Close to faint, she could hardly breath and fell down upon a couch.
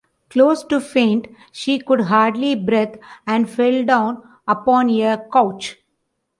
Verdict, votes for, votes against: rejected, 0, 2